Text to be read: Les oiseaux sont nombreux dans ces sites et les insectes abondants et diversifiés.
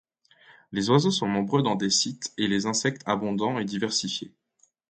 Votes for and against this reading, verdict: 1, 2, rejected